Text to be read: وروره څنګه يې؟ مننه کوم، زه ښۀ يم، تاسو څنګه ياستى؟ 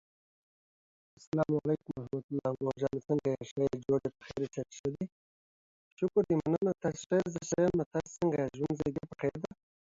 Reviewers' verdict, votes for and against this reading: rejected, 0, 3